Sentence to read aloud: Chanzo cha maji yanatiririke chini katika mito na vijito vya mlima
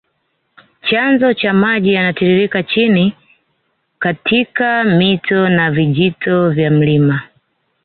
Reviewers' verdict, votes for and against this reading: accepted, 2, 0